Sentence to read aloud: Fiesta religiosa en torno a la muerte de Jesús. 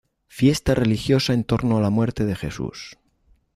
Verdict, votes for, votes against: accepted, 2, 0